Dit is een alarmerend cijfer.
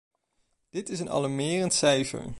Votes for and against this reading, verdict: 2, 0, accepted